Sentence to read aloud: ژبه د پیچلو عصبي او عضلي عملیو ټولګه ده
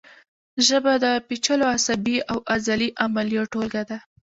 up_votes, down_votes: 0, 2